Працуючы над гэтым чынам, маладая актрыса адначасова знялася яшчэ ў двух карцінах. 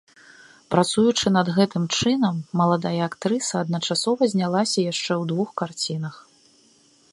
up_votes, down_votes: 2, 0